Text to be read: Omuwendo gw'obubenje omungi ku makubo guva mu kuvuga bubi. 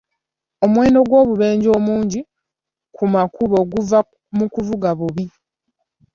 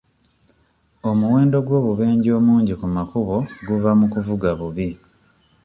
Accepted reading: second